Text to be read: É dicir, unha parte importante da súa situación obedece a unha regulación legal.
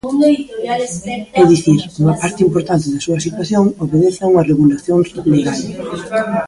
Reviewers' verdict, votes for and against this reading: rejected, 0, 2